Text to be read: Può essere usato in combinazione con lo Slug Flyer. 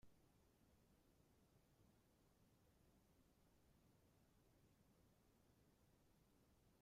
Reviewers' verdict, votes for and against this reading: rejected, 0, 2